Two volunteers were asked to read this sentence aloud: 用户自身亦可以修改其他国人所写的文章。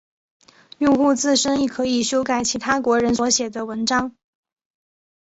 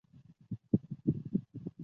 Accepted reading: first